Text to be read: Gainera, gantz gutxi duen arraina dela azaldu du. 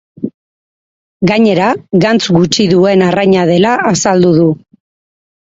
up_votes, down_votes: 2, 2